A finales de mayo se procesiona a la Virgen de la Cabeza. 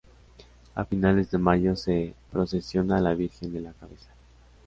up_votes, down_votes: 2, 0